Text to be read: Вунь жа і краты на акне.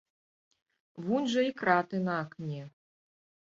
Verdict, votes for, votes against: accepted, 3, 0